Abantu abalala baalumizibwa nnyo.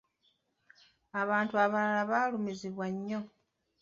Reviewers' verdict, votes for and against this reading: rejected, 0, 2